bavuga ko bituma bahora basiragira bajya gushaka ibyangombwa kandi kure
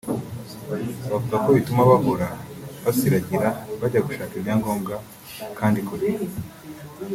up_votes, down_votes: 2, 1